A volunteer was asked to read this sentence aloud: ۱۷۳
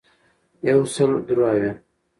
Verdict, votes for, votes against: rejected, 0, 2